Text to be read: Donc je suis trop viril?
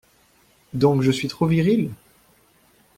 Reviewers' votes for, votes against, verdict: 2, 0, accepted